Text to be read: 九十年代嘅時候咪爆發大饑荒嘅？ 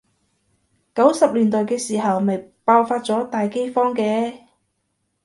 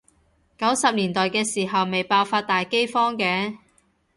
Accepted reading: second